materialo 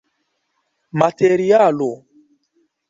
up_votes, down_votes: 0, 2